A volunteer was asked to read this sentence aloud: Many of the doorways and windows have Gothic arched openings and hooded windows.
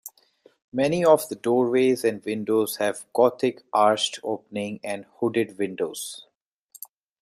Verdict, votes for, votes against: rejected, 1, 2